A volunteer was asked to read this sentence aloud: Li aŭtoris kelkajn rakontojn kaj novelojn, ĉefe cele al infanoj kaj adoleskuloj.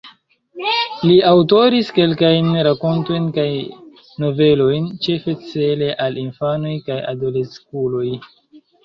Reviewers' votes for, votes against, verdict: 1, 2, rejected